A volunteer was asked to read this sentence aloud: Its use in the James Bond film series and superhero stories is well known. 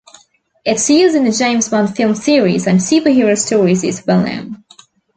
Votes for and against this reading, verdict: 2, 0, accepted